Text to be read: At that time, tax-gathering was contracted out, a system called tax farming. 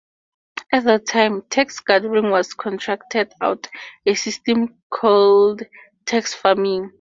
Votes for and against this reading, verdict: 4, 0, accepted